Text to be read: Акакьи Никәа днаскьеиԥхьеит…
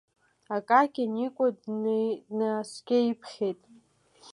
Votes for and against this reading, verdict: 0, 2, rejected